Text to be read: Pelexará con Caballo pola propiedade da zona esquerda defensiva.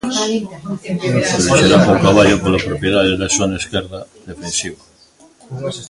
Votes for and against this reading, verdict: 0, 2, rejected